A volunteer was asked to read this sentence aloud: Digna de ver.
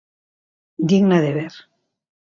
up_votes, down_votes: 2, 0